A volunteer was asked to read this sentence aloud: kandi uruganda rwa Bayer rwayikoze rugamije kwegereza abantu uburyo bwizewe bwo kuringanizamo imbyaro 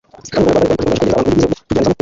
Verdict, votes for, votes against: rejected, 0, 2